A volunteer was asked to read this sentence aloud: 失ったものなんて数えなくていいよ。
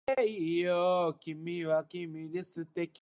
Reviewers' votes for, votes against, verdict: 1, 2, rejected